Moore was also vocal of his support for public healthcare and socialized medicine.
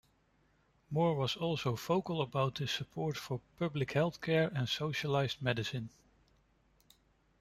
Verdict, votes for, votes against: rejected, 0, 2